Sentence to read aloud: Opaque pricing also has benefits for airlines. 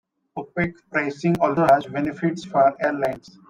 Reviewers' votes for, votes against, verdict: 1, 2, rejected